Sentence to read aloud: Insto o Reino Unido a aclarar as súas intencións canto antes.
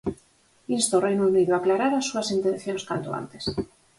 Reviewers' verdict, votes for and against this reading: accepted, 4, 0